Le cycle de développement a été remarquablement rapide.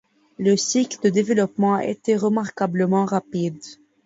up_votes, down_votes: 1, 2